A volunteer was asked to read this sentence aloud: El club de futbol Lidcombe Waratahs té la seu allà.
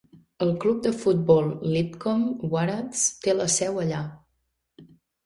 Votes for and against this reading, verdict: 0, 2, rejected